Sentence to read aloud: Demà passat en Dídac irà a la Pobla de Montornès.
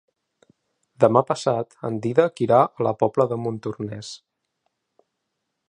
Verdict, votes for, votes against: rejected, 1, 2